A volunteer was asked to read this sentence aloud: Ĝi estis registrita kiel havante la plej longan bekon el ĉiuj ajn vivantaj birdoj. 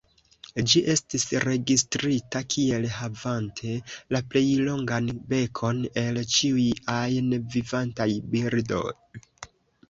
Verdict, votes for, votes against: rejected, 1, 2